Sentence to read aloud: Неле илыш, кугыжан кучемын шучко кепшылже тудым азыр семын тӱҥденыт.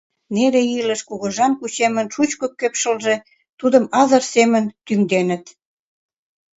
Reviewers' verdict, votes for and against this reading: accepted, 2, 0